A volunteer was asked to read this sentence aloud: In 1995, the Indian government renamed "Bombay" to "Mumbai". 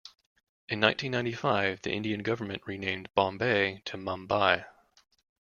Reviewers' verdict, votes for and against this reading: rejected, 0, 2